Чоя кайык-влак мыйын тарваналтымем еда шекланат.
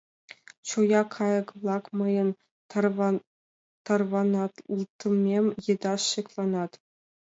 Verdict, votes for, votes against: rejected, 0, 2